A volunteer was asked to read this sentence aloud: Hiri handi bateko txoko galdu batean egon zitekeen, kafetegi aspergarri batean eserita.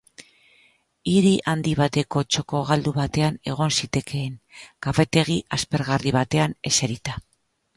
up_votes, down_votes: 2, 0